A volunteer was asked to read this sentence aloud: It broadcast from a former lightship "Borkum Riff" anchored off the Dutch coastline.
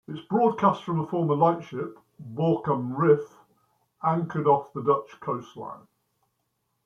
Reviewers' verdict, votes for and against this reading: accepted, 2, 0